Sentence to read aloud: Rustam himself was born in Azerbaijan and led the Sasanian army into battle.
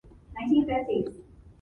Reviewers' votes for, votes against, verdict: 0, 2, rejected